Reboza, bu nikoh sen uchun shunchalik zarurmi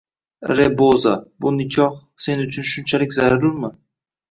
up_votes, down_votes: 2, 0